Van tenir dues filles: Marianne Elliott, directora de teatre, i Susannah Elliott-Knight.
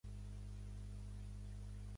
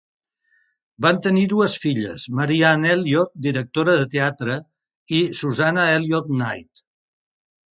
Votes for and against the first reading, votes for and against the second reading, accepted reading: 0, 2, 3, 0, second